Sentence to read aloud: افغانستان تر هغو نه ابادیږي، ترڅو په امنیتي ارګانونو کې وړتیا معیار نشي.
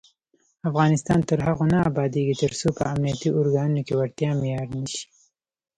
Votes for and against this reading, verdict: 0, 2, rejected